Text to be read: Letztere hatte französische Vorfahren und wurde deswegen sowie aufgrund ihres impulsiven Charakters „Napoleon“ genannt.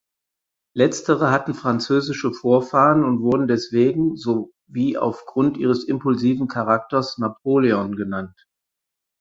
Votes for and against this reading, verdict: 0, 4, rejected